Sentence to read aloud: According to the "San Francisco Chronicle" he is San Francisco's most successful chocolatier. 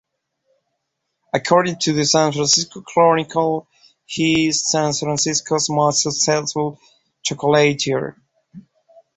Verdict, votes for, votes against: rejected, 0, 2